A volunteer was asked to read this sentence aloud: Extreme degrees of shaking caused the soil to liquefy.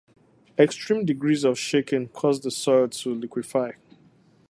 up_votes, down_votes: 4, 0